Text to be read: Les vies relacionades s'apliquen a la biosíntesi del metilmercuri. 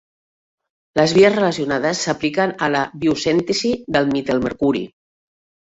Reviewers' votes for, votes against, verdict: 0, 2, rejected